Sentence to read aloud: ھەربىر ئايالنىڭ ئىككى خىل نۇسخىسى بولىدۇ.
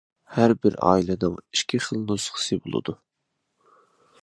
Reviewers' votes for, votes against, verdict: 0, 2, rejected